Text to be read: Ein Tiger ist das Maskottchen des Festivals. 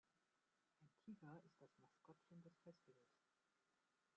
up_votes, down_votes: 0, 2